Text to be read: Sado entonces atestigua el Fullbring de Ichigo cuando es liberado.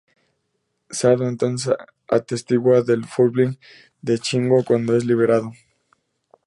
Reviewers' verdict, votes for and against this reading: accepted, 4, 0